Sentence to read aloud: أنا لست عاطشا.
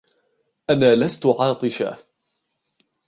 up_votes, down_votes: 1, 2